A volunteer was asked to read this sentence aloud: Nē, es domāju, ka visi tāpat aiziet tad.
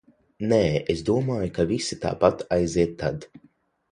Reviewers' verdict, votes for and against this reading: accepted, 6, 0